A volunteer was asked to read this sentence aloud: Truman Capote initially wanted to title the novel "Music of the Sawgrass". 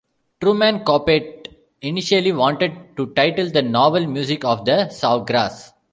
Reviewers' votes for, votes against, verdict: 1, 2, rejected